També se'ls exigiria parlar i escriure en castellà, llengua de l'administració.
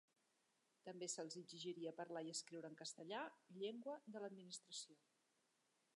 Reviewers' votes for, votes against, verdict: 3, 0, accepted